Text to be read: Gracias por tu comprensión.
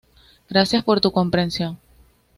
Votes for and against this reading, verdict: 2, 0, accepted